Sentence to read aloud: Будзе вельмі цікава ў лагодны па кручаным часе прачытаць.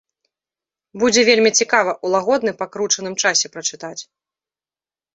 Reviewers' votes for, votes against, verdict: 2, 0, accepted